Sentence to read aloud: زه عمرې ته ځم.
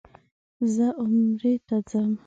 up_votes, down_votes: 1, 2